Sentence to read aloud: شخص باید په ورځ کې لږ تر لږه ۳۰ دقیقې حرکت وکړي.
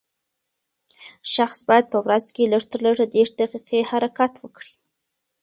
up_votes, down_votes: 0, 2